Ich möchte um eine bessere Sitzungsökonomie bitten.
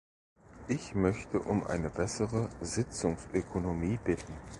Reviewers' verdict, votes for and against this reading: accepted, 2, 0